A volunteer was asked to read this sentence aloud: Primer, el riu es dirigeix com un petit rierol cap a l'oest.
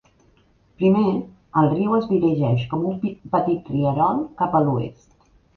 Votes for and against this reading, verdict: 0, 3, rejected